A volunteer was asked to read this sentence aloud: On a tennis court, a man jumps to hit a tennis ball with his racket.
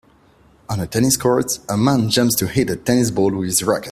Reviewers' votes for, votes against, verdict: 1, 2, rejected